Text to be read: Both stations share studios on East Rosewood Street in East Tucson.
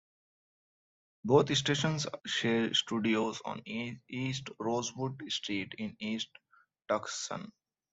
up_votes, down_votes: 1, 2